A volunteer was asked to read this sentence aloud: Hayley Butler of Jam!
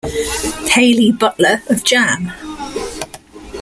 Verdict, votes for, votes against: accepted, 2, 0